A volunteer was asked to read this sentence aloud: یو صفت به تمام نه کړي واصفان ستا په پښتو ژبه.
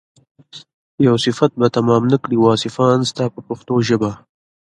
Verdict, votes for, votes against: accepted, 2, 0